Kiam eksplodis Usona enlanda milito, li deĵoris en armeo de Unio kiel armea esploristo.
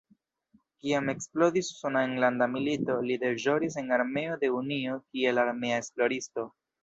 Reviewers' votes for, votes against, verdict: 1, 2, rejected